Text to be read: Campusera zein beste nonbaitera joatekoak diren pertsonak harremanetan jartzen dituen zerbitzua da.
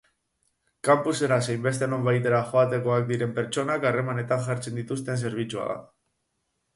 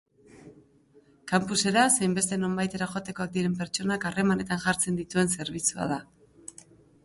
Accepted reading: second